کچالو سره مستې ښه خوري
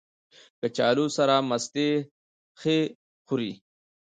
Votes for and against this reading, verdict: 0, 2, rejected